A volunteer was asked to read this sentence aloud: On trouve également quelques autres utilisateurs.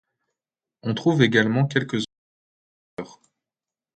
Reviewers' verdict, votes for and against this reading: rejected, 1, 2